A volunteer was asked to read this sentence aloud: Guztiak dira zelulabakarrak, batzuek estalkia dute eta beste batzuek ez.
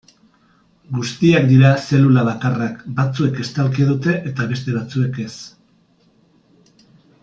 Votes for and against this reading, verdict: 2, 0, accepted